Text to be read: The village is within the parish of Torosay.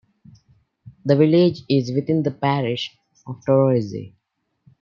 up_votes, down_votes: 2, 0